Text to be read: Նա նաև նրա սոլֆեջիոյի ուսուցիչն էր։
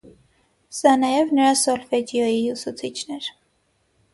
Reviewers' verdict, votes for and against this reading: accepted, 6, 3